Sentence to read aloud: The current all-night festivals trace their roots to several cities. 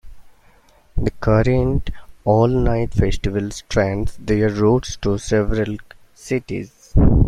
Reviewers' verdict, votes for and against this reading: rejected, 0, 2